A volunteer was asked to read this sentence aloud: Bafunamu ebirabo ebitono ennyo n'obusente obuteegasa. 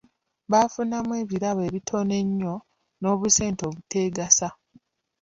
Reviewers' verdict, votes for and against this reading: accepted, 2, 0